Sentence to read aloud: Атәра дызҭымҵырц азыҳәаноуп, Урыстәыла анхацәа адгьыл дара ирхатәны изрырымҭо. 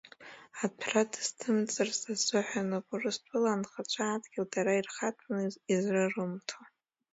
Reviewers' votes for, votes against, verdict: 0, 2, rejected